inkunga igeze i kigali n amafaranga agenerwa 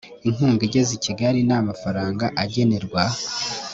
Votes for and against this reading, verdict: 1, 2, rejected